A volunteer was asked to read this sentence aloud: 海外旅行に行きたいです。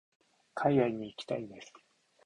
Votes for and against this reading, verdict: 1, 2, rejected